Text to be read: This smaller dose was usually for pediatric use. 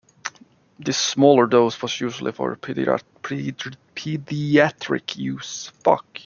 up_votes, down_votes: 0, 2